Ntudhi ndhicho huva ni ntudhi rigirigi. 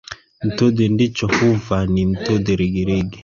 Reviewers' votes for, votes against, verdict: 2, 1, accepted